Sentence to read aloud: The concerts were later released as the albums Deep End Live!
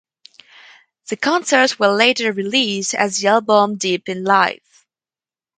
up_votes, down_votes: 0, 2